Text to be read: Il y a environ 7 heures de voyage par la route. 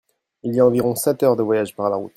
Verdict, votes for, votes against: rejected, 0, 2